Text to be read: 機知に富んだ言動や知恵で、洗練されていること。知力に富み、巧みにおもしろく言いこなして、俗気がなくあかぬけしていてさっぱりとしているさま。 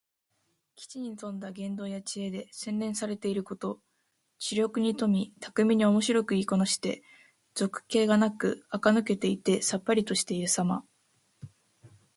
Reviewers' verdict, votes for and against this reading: rejected, 1, 2